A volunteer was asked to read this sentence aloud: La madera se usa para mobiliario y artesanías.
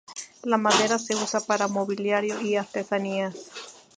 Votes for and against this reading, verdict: 2, 2, rejected